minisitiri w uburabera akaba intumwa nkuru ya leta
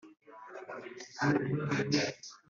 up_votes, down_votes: 1, 2